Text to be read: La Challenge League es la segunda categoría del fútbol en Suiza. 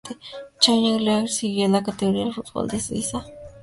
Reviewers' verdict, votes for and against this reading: rejected, 2, 2